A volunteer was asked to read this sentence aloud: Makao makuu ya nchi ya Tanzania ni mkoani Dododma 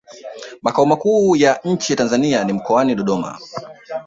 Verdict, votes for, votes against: rejected, 1, 2